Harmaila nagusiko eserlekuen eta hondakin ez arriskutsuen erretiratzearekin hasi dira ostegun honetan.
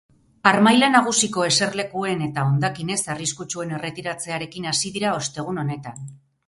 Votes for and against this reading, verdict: 4, 0, accepted